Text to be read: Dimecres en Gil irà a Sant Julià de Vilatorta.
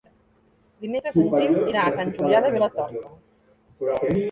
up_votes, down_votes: 0, 3